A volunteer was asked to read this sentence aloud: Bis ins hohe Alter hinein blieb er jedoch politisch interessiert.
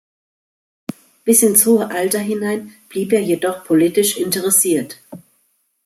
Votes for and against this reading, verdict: 2, 0, accepted